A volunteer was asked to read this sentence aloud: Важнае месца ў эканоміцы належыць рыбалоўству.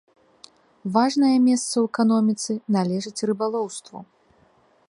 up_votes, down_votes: 2, 0